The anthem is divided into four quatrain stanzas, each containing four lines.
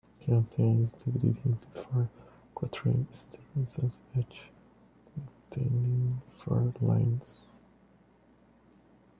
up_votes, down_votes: 1, 3